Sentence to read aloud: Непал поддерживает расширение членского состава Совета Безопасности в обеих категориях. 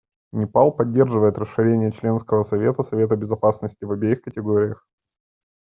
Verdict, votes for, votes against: rejected, 0, 2